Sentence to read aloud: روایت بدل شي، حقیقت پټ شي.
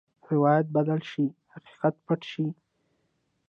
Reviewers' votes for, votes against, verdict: 1, 2, rejected